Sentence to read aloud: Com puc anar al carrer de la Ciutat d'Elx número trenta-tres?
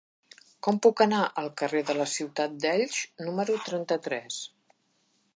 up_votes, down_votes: 2, 1